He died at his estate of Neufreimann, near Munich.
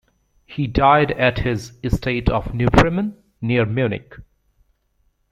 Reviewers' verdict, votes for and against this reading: accepted, 2, 0